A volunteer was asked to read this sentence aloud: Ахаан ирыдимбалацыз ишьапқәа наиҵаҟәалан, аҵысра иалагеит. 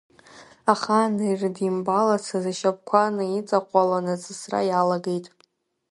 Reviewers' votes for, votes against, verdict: 2, 1, accepted